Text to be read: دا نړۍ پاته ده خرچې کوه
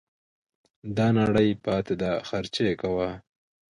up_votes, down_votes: 2, 0